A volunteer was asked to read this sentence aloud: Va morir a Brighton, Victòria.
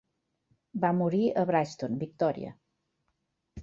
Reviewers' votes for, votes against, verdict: 2, 0, accepted